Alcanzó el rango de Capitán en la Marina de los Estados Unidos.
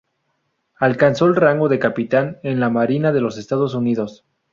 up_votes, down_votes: 2, 0